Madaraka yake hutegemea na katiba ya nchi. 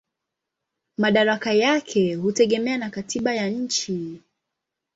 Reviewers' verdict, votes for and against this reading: accepted, 2, 0